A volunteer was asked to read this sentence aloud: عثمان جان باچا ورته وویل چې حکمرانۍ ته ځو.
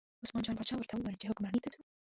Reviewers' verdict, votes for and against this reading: rejected, 1, 2